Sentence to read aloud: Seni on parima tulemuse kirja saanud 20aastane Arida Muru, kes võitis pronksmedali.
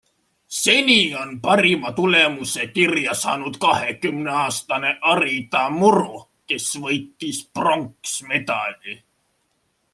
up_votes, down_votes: 0, 2